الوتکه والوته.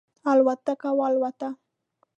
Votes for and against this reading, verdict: 2, 0, accepted